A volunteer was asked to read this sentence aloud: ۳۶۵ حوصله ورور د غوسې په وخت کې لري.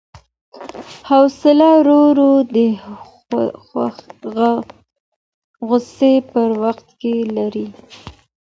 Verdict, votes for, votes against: rejected, 0, 2